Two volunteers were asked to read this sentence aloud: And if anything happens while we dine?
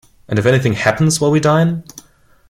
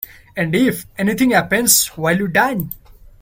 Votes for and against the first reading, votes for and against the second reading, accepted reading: 2, 0, 0, 2, first